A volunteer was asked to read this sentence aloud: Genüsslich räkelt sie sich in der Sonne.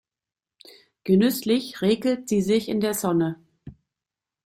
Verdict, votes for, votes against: accepted, 2, 0